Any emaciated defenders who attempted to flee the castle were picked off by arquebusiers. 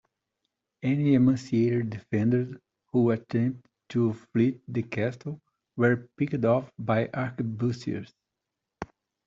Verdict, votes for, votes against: accepted, 2, 1